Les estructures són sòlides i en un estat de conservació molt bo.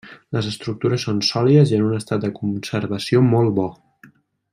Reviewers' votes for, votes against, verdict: 2, 1, accepted